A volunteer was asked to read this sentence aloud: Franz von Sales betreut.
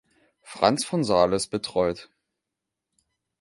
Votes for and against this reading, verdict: 2, 0, accepted